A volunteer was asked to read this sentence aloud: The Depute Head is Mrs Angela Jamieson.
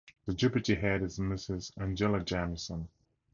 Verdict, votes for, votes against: accepted, 2, 0